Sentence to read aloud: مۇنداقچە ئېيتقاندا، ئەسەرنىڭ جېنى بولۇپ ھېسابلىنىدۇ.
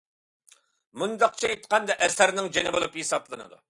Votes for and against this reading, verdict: 2, 0, accepted